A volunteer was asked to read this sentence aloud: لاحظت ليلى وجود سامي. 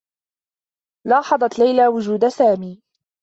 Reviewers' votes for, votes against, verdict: 2, 0, accepted